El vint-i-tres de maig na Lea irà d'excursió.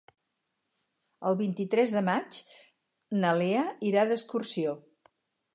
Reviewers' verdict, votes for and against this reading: accepted, 4, 0